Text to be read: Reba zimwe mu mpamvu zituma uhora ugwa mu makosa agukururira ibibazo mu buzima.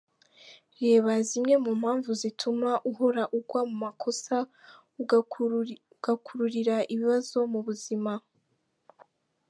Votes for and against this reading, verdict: 1, 2, rejected